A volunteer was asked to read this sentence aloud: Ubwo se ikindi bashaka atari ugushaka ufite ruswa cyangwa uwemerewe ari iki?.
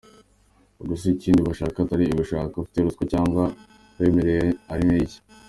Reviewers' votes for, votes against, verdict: 2, 1, accepted